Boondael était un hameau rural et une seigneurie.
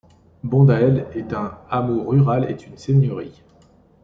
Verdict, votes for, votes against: rejected, 1, 3